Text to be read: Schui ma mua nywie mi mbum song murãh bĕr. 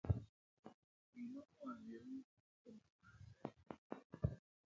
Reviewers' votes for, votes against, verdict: 0, 2, rejected